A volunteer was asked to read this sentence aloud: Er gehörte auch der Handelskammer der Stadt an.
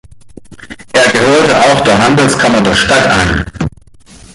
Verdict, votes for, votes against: rejected, 1, 3